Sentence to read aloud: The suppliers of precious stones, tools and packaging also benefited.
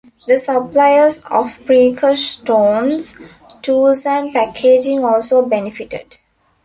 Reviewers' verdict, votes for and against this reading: rejected, 0, 2